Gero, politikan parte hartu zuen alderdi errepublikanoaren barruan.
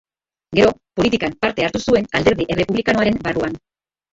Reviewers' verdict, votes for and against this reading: accepted, 3, 1